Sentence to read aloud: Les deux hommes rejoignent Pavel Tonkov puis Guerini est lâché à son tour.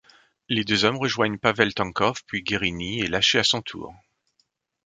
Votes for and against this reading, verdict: 2, 0, accepted